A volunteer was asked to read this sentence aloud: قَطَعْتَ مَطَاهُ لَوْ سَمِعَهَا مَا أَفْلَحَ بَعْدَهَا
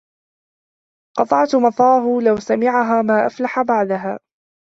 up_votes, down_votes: 0, 3